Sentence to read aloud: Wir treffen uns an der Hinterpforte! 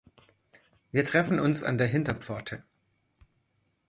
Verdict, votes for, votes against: accepted, 2, 0